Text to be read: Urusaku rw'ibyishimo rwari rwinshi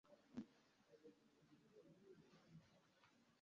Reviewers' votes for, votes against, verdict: 1, 2, rejected